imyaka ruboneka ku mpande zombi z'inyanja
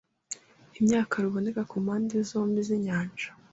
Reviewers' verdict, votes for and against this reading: accepted, 3, 0